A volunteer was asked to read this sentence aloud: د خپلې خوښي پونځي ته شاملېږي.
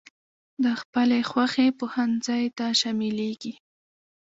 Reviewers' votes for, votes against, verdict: 1, 2, rejected